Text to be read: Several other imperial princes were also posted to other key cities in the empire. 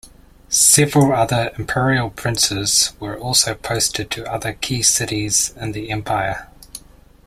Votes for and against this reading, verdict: 2, 0, accepted